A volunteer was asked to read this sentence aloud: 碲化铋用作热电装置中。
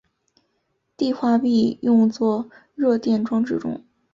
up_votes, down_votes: 3, 0